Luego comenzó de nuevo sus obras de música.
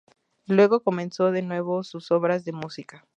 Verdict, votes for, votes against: accepted, 2, 0